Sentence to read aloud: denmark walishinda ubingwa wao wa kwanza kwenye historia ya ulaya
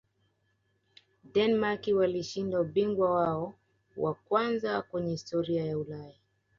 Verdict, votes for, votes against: accepted, 2, 1